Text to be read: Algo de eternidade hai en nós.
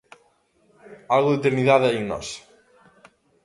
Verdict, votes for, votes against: accepted, 2, 0